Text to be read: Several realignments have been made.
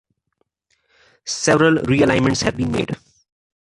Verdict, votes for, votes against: accepted, 2, 1